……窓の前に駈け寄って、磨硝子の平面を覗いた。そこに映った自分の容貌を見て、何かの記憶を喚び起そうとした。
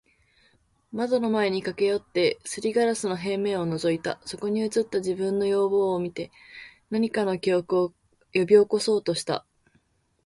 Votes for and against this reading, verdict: 2, 0, accepted